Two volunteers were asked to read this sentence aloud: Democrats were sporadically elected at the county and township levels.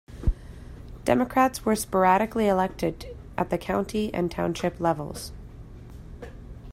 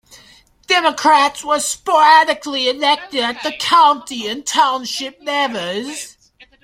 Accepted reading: first